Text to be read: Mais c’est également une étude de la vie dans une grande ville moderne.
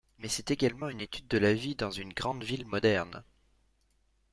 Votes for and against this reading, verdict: 2, 0, accepted